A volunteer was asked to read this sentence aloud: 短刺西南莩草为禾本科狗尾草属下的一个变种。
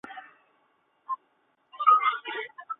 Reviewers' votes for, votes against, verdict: 3, 2, accepted